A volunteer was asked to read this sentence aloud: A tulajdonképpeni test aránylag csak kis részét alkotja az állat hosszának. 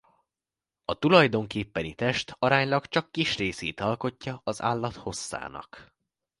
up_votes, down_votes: 2, 0